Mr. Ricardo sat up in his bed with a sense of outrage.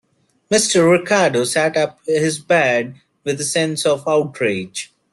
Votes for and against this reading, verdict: 2, 1, accepted